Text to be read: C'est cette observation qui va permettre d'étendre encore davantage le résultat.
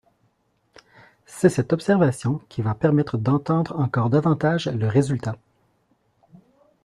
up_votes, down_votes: 1, 2